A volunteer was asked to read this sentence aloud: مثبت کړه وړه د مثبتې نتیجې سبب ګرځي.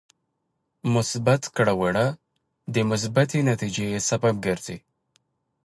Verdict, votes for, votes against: accepted, 2, 0